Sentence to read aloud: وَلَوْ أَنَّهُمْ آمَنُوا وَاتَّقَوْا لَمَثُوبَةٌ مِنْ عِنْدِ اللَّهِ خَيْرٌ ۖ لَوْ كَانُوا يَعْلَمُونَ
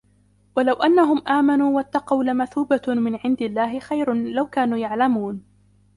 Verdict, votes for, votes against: rejected, 1, 2